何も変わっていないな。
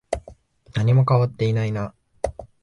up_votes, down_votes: 2, 0